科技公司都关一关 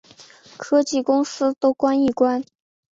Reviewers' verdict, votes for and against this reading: accepted, 5, 0